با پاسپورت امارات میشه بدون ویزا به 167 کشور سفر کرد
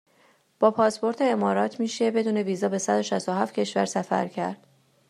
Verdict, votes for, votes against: rejected, 0, 2